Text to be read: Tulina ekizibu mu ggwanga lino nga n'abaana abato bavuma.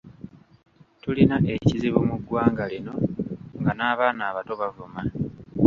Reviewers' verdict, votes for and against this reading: accepted, 2, 0